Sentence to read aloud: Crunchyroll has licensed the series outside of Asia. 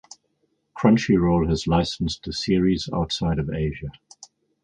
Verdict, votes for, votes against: accepted, 4, 0